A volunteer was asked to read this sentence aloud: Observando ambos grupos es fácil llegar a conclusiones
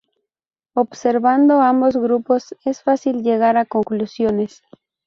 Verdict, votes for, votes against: accepted, 4, 0